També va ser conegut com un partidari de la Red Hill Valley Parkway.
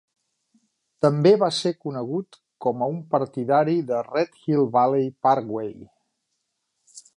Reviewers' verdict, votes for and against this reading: rejected, 1, 2